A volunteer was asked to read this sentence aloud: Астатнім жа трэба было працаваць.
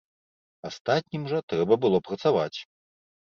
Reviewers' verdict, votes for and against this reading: accepted, 2, 0